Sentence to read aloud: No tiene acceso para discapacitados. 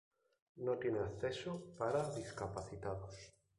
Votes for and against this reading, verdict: 2, 2, rejected